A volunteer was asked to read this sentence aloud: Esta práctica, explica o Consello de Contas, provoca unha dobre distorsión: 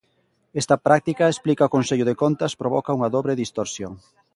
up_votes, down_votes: 2, 0